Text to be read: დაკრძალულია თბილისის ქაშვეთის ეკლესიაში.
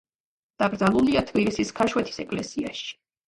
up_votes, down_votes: 3, 2